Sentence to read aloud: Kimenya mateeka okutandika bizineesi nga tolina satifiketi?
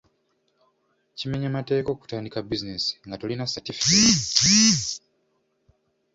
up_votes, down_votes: 2, 0